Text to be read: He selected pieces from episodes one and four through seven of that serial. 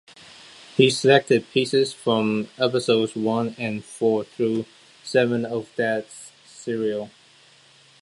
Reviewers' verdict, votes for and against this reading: accepted, 2, 0